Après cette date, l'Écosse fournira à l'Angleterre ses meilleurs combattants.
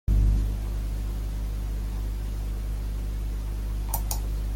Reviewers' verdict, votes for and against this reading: rejected, 0, 2